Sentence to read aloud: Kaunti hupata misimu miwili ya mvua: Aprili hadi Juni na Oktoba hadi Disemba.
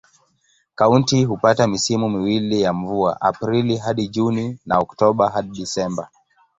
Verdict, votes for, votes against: accepted, 2, 0